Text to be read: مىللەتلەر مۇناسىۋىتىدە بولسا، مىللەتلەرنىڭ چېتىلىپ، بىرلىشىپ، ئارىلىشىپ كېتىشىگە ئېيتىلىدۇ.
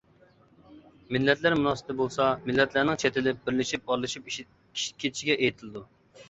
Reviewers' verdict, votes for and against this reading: rejected, 1, 2